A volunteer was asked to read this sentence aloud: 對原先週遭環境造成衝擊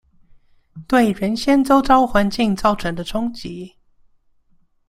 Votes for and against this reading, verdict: 0, 2, rejected